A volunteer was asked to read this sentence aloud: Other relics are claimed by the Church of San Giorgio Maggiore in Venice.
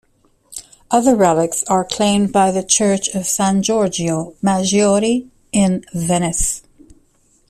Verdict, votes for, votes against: accepted, 2, 0